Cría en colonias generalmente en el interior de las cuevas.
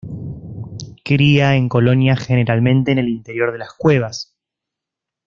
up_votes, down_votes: 0, 2